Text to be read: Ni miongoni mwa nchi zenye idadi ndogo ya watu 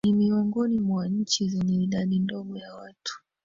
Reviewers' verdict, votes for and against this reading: accepted, 2, 0